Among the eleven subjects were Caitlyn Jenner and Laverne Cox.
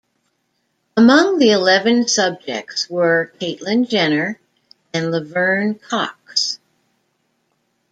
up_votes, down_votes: 2, 0